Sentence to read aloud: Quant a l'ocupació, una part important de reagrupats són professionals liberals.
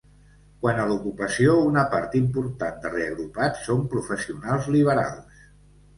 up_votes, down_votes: 2, 0